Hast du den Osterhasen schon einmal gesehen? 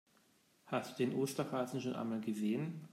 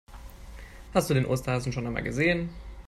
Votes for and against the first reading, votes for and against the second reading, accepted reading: 0, 2, 2, 0, second